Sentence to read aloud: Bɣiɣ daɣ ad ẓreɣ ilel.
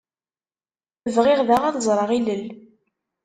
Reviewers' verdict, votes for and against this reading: accepted, 2, 0